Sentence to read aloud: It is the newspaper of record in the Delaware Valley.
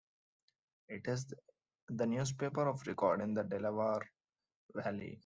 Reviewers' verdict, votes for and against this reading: accepted, 2, 1